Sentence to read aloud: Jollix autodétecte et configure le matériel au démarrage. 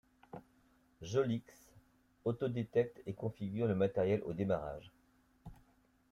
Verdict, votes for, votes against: accepted, 2, 1